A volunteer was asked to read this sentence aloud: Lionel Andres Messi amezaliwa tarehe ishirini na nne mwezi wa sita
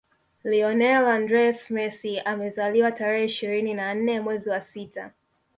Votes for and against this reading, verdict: 0, 2, rejected